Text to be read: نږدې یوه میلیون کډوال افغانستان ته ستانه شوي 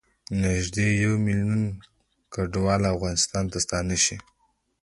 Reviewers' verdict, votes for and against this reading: rejected, 1, 2